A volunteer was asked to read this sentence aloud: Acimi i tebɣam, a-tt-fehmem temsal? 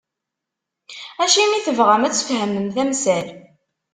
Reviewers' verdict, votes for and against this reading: rejected, 1, 2